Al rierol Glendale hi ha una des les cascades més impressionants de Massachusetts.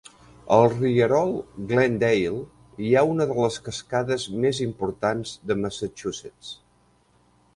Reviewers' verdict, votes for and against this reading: rejected, 0, 2